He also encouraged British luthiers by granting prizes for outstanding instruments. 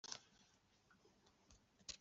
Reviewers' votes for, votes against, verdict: 0, 2, rejected